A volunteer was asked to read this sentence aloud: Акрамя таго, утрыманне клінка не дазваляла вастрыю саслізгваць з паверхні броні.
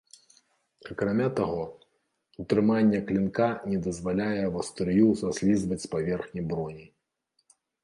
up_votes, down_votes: 0, 2